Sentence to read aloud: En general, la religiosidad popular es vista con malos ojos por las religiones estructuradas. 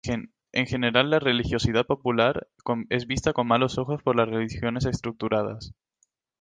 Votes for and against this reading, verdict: 2, 2, rejected